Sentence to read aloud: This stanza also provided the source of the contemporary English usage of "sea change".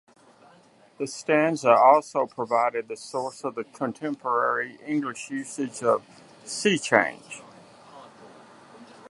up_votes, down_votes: 2, 0